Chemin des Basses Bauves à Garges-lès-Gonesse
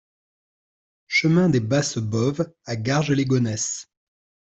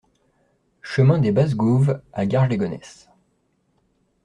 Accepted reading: first